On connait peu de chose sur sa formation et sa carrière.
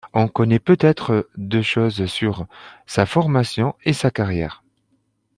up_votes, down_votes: 0, 3